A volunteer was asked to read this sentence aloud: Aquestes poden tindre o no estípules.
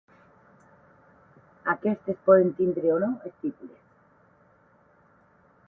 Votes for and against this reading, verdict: 8, 4, accepted